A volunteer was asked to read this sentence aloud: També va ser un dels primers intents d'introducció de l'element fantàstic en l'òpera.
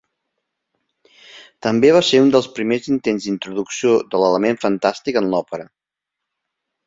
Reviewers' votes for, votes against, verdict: 2, 0, accepted